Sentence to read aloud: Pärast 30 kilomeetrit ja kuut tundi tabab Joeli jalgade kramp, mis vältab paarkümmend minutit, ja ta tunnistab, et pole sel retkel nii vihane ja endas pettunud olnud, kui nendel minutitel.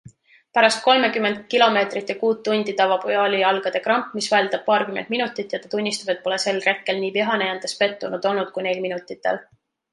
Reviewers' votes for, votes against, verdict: 0, 2, rejected